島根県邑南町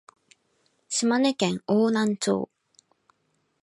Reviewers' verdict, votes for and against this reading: accepted, 2, 0